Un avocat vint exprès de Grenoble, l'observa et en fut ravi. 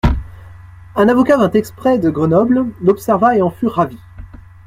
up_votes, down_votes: 2, 0